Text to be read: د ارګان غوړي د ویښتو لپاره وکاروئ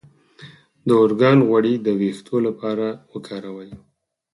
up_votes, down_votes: 4, 0